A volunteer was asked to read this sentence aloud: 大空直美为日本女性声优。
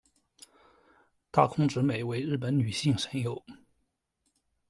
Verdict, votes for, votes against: accepted, 2, 0